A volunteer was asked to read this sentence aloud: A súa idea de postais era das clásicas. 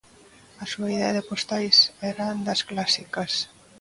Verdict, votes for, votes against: accepted, 2, 0